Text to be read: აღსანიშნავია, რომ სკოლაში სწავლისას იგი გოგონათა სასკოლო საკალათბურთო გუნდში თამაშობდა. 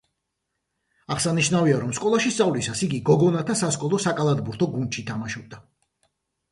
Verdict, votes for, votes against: accepted, 2, 0